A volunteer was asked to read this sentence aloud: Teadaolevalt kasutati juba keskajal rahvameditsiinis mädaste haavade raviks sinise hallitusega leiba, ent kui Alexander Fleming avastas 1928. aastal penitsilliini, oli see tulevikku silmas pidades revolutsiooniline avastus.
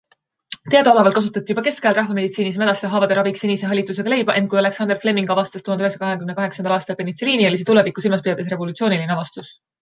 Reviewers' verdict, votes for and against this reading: rejected, 0, 2